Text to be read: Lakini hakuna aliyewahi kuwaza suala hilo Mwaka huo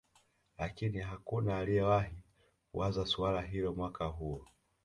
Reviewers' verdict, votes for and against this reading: accepted, 2, 0